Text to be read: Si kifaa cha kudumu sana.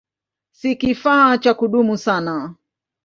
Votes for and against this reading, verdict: 2, 0, accepted